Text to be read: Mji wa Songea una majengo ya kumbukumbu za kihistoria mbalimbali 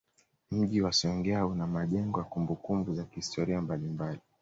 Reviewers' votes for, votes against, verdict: 2, 0, accepted